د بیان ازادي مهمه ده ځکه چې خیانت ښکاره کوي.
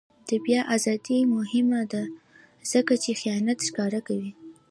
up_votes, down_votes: 2, 1